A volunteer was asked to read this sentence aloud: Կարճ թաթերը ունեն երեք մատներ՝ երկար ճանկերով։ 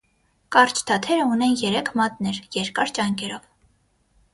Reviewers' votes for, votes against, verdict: 6, 0, accepted